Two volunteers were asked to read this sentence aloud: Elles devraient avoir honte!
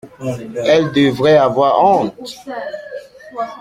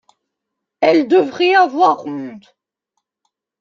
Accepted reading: first